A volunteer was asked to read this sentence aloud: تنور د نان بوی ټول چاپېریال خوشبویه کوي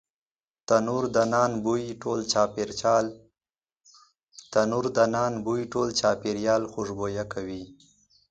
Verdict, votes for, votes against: rejected, 1, 2